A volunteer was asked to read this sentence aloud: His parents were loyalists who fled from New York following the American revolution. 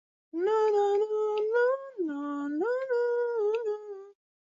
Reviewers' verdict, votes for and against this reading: rejected, 0, 2